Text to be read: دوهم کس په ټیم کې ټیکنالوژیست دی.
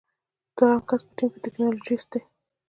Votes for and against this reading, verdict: 2, 0, accepted